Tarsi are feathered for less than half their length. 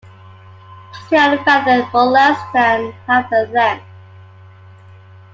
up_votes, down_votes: 2, 1